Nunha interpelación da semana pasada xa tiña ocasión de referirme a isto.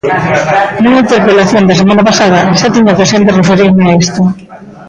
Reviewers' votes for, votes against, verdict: 0, 2, rejected